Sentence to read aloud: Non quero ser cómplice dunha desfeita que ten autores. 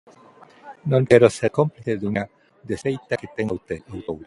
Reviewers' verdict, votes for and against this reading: rejected, 0, 2